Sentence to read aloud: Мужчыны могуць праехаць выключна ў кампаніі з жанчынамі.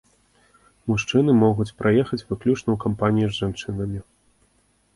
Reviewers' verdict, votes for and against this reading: accepted, 3, 0